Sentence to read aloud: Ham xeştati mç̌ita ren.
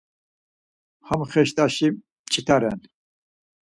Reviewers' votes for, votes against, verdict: 0, 4, rejected